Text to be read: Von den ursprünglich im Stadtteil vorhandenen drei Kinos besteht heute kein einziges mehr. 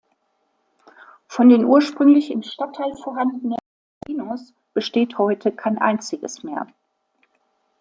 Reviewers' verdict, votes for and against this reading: rejected, 0, 2